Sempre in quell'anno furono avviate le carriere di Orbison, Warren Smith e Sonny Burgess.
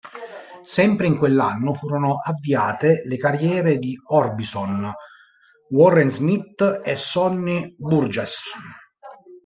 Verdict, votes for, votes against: rejected, 1, 2